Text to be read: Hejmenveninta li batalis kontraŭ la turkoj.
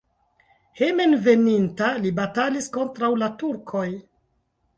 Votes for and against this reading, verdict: 2, 0, accepted